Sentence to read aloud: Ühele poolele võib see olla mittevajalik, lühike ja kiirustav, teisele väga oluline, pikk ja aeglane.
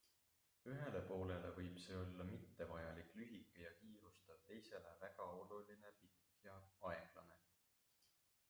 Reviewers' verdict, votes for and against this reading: accepted, 2, 0